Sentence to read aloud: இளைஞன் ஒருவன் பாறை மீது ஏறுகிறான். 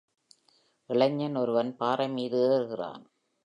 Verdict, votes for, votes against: accepted, 2, 0